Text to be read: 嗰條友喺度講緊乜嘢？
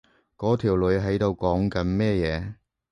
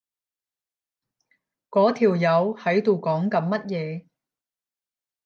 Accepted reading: second